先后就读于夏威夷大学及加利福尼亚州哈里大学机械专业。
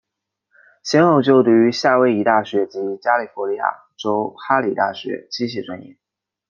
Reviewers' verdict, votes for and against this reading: accepted, 2, 0